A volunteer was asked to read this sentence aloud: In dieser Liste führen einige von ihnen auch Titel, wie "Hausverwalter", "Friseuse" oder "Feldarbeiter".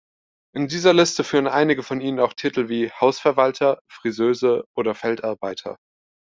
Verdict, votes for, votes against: accepted, 2, 0